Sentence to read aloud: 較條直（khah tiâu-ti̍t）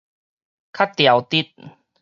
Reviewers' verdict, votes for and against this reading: accepted, 4, 0